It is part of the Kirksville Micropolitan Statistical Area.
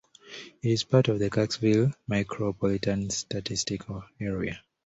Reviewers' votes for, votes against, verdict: 2, 0, accepted